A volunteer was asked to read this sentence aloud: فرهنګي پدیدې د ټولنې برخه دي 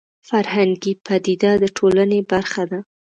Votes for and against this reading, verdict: 1, 2, rejected